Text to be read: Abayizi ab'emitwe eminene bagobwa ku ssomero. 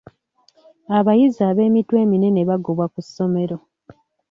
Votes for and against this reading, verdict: 2, 0, accepted